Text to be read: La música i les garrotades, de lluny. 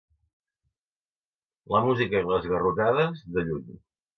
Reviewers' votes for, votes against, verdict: 3, 0, accepted